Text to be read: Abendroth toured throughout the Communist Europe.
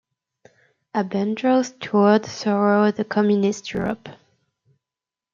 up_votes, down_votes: 0, 2